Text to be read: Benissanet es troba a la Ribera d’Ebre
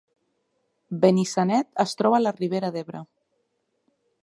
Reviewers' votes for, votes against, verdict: 3, 0, accepted